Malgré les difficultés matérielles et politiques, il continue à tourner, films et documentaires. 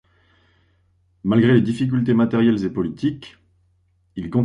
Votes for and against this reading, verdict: 1, 2, rejected